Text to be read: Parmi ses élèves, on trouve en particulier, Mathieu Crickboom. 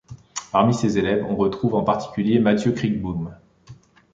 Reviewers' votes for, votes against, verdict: 1, 2, rejected